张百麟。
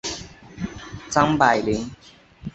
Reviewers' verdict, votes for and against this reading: accepted, 3, 0